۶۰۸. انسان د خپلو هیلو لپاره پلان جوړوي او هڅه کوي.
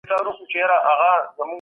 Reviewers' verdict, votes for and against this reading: rejected, 0, 2